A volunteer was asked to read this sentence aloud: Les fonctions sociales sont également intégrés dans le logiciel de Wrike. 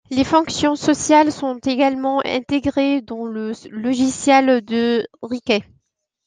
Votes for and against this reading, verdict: 0, 2, rejected